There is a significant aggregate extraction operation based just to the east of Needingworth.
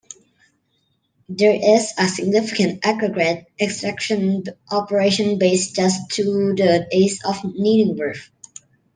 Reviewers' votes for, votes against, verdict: 2, 1, accepted